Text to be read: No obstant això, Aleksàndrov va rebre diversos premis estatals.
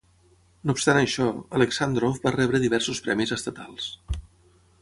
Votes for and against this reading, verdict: 12, 0, accepted